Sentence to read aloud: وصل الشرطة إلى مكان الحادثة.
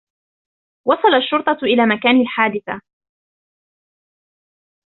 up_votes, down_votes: 2, 1